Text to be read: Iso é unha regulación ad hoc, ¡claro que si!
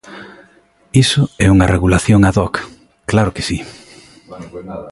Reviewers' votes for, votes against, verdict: 1, 2, rejected